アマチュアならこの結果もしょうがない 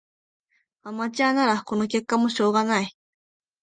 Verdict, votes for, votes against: accepted, 11, 1